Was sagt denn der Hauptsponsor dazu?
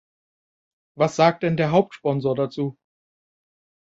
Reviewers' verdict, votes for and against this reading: accepted, 2, 0